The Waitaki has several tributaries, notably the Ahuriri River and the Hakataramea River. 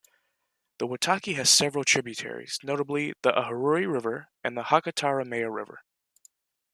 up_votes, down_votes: 2, 0